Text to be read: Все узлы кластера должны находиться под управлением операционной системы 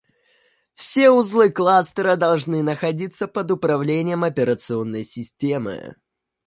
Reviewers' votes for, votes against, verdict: 2, 0, accepted